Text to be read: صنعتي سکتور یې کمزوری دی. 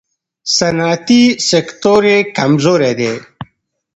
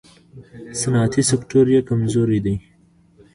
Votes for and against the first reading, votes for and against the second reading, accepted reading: 1, 2, 2, 0, second